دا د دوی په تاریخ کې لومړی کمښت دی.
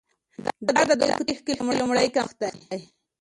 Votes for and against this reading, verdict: 0, 2, rejected